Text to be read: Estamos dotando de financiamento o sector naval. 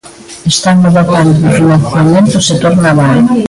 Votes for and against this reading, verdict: 0, 2, rejected